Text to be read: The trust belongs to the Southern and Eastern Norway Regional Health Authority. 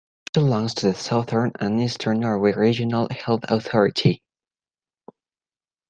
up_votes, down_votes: 2, 1